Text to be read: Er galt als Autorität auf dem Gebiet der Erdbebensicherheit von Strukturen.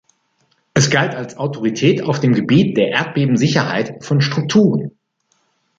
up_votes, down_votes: 0, 2